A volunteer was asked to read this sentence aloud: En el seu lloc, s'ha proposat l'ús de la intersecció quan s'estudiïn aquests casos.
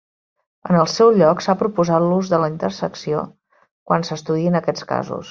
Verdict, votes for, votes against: accepted, 2, 0